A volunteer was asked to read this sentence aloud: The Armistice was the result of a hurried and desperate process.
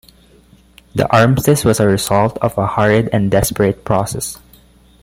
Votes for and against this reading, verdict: 2, 1, accepted